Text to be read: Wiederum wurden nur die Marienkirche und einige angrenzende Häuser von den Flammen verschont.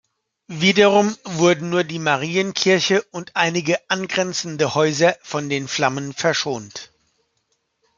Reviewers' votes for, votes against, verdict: 1, 2, rejected